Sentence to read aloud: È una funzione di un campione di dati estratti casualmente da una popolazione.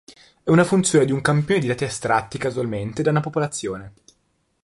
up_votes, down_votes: 2, 0